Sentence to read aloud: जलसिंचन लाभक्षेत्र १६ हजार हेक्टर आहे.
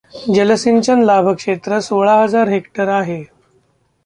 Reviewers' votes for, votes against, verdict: 0, 2, rejected